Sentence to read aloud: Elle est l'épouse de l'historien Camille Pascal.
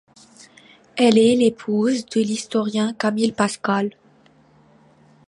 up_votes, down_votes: 1, 2